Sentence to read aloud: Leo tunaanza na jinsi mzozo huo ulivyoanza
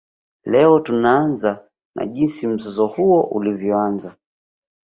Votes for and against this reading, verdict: 0, 2, rejected